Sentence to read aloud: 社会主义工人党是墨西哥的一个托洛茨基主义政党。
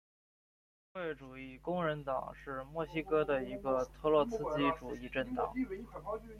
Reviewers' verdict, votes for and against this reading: accepted, 2, 0